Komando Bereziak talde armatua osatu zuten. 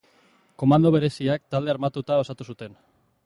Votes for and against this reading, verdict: 0, 2, rejected